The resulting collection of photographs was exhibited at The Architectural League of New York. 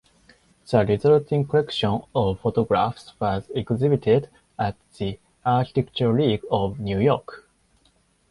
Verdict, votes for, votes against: rejected, 2, 4